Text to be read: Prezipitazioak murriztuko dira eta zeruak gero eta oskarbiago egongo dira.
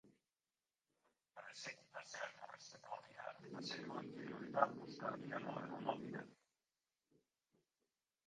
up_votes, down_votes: 0, 2